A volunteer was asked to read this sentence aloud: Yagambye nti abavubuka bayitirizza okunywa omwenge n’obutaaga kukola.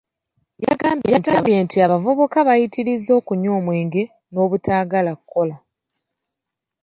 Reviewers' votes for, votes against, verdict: 1, 3, rejected